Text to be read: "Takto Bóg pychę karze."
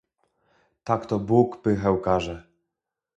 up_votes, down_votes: 2, 0